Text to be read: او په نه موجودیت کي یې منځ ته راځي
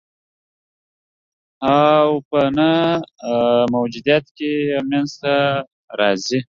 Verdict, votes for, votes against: rejected, 1, 3